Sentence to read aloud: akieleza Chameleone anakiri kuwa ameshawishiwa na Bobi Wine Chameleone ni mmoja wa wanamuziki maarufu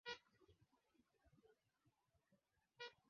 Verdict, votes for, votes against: rejected, 0, 2